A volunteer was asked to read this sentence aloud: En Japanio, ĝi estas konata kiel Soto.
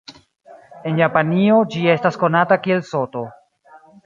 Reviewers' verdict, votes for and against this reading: accepted, 2, 0